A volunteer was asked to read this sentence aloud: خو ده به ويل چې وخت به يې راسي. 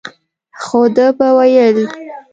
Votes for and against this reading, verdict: 1, 2, rejected